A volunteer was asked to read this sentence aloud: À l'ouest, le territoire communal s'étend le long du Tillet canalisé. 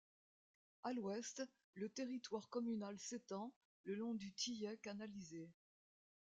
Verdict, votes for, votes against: rejected, 1, 2